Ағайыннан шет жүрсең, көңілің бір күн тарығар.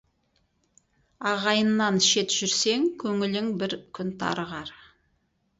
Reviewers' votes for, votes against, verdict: 2, 2, rejected